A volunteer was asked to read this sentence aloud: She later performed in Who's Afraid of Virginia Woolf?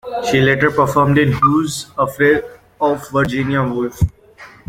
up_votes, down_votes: 2, 0